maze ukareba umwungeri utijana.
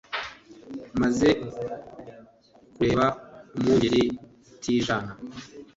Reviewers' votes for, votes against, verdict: 2, 1, accepted